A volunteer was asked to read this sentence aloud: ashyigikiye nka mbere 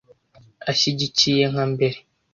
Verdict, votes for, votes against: accepted, 2, 0